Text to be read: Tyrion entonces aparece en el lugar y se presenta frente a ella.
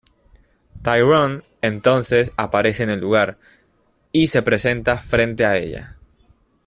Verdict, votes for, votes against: accepted, 2, 0